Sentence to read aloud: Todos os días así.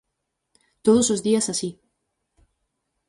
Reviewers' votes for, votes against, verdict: 4, 0, accepted